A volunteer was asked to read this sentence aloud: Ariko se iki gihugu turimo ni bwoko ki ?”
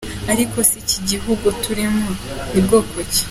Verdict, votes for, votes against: accepted, 2, 0